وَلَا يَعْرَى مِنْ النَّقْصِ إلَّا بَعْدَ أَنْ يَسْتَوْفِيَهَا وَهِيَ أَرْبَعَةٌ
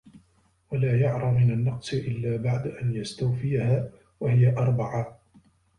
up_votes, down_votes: 2, 0